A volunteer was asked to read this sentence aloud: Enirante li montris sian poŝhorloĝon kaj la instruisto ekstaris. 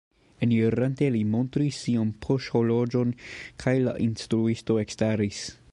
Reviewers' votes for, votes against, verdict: 0, 2, rejected